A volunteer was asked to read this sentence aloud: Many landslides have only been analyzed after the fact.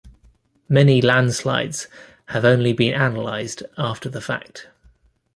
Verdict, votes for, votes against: accepted, 2, 1